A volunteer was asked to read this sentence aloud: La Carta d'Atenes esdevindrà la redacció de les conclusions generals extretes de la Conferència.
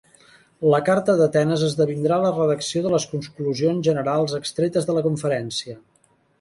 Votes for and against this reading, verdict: 0, 4, rejected